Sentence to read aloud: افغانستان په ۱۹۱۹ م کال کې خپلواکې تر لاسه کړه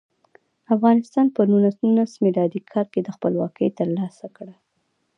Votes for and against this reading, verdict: 0, 2, rejected